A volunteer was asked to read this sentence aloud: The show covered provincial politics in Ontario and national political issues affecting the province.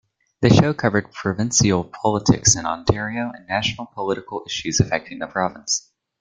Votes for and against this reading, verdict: 2, 0, accepted